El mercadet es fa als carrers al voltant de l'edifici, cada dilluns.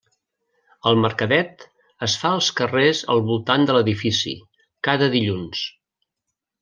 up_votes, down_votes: 3, 0